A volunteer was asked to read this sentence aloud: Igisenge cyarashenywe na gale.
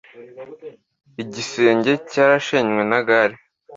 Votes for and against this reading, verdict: 2, 0, accepted